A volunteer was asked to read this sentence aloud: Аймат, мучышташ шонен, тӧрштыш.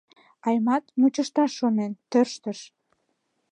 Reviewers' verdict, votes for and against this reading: accepted, 2, 0